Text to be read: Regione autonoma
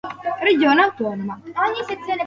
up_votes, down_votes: 0, 4